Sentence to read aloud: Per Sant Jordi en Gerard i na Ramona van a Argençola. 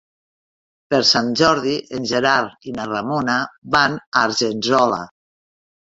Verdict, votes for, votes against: rejected, 1, 2